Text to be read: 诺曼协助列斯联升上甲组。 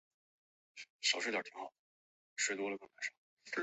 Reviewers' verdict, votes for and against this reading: rejected, 0, 2